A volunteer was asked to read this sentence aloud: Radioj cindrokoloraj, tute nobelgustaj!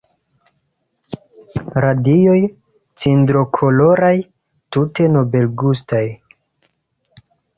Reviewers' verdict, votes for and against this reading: accepted, 2, 0